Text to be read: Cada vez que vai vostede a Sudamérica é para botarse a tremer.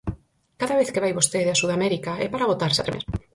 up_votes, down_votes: 2, 4